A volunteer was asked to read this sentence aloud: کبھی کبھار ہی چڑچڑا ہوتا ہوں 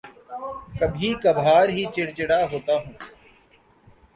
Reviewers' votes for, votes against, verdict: 2, 1, accepted